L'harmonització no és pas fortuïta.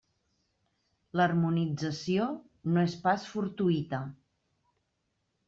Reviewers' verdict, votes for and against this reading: accepted, 3, 0